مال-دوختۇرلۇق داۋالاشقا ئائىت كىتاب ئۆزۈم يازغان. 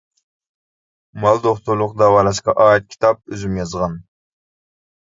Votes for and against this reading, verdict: 2, 0, accepted